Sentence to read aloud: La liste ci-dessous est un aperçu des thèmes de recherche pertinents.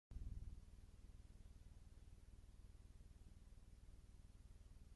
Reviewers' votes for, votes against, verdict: 0, 2, rejected